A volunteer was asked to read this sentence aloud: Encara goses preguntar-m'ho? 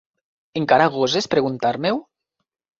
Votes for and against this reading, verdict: 1, 2, rejected